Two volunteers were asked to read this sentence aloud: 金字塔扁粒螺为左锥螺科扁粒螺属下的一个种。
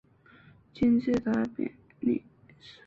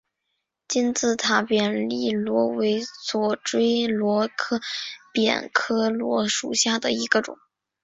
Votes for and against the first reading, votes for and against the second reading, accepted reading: 1, 2, 3, 0, second